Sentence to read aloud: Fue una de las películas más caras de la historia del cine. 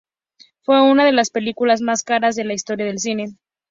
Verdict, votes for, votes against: accepted, 2, 0